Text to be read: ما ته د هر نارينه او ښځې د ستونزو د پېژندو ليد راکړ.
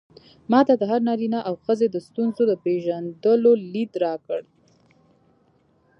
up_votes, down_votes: 2, 0